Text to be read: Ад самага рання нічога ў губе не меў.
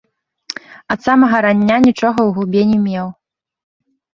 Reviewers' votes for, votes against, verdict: 2, 0, accepted